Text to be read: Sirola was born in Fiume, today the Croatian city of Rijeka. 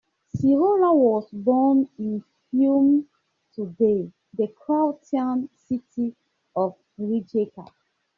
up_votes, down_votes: 0, 2